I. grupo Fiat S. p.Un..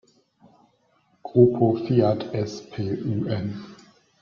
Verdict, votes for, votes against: rejected, 0, 3